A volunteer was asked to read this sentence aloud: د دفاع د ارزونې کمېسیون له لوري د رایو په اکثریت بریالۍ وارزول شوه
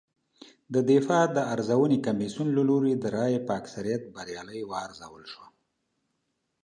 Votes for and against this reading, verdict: 2, 0, accepted